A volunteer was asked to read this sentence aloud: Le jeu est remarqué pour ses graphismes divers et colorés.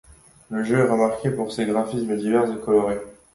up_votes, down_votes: 2, 0